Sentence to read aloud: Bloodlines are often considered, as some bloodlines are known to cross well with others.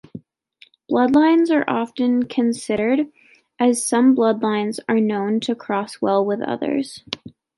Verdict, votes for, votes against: accepted, 2, 0